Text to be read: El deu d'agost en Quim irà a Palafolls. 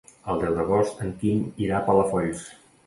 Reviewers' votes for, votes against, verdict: 2, 0, accepted